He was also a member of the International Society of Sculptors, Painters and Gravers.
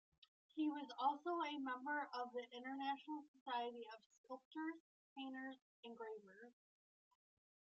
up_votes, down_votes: 2, 0